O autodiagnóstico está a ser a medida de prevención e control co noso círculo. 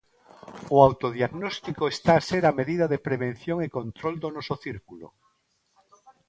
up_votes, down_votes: 0, 2